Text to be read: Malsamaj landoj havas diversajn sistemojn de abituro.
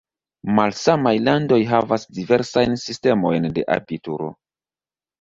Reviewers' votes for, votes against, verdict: 2, 1, accepted